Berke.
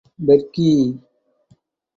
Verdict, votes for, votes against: rejected, 2, 2